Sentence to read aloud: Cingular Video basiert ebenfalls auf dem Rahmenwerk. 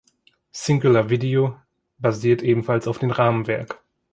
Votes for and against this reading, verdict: 2, 1, accepted